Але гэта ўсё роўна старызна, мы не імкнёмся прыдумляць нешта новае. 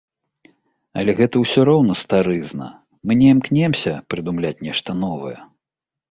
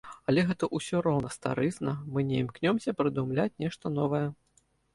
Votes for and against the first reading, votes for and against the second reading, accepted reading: 0, 2, 2, 0, second